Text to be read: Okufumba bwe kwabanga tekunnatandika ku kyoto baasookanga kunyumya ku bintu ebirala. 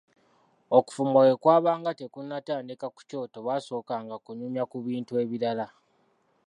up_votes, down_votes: 2, 0